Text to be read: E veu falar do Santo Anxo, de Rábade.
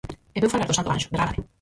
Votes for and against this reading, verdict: 0, 4, rejected